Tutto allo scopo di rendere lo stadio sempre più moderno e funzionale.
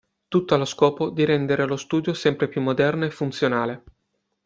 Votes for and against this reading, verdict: 0, 2, rejected